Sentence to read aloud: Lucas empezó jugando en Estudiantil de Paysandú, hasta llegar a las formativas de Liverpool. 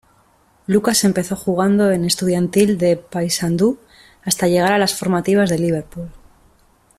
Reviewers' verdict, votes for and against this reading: accepted, 2, 0